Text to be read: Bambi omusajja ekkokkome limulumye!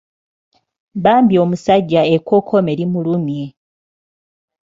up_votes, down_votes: 2, 0